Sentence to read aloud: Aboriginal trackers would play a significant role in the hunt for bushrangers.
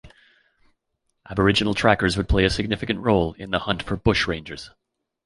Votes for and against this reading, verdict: 3, 0, accepted